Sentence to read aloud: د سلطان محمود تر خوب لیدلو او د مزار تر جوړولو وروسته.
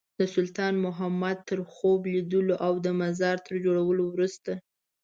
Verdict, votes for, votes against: rejected, 1, 2